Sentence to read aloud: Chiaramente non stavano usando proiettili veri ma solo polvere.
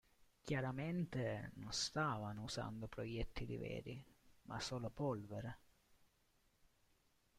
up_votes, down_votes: 2, 1